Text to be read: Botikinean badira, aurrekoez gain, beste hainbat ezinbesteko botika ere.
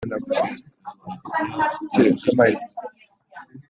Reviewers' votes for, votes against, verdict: 0, 2, rejected